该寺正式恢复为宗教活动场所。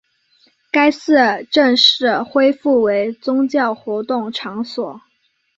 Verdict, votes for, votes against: accepted, 2, 0